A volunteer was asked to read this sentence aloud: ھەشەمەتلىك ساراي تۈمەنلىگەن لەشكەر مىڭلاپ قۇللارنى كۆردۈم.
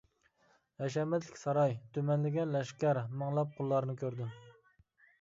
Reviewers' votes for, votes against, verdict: 2, 0, accepted